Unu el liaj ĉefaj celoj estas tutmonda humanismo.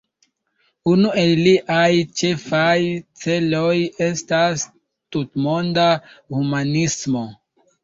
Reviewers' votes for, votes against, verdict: 1, 2, rejected